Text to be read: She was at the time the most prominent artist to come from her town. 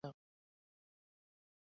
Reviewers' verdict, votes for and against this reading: rejected, 1, 2